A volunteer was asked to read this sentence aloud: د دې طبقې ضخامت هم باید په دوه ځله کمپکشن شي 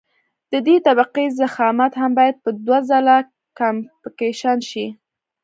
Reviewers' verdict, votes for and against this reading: accepted, 2, 0